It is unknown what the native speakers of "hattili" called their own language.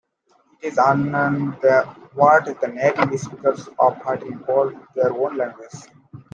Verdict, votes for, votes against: accepted, 2, 1